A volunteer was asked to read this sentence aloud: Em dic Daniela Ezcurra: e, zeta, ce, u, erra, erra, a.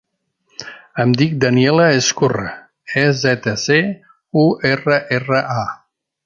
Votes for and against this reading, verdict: 2, 0, accepted